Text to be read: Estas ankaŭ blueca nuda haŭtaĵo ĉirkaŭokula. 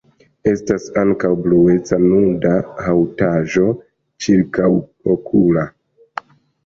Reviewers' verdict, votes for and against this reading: accepted, 2, 0